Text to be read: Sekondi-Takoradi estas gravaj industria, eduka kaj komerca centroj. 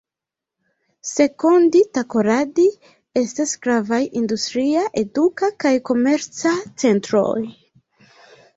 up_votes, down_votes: 2, 1